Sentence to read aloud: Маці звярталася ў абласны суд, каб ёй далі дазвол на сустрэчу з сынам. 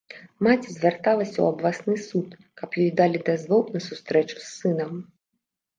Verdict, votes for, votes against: rejected, 0, 2